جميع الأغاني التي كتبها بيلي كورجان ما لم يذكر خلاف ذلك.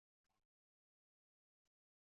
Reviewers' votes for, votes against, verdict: 1, 2, rejected